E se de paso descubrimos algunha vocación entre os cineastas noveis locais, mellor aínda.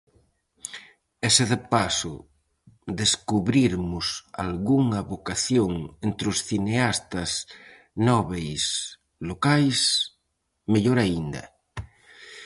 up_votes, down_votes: 2, 2